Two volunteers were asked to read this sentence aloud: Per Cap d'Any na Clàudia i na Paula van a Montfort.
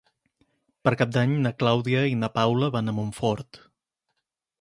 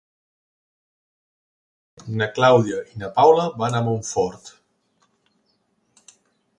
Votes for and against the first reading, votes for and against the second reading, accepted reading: 4, 0, 0, 2, first